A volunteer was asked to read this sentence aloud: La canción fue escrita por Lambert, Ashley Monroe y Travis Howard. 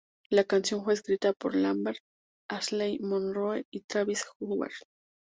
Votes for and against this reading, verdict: 0, 2, rejected